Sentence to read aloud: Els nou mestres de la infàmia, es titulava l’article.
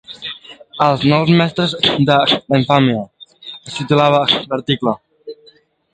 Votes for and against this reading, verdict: 0, 2, rejected